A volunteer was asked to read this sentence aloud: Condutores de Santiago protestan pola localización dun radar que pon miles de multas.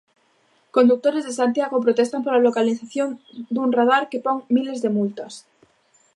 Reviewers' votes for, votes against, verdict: 0, 2, rejected